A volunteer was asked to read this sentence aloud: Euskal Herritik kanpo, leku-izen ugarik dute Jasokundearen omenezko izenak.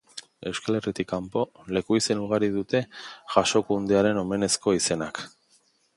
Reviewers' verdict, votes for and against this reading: accepted, 2, 0